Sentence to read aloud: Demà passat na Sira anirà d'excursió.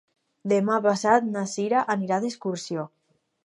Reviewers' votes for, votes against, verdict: 4, 0, accepted